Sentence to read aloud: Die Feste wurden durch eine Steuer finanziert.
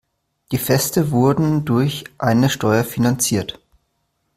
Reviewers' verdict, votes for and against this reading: accepted, 2, 0